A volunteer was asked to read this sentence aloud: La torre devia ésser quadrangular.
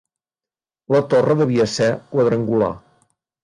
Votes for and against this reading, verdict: 0, 2, rejected